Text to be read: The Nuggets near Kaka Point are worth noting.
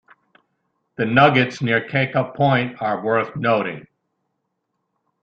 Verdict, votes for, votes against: accepted, 2, 0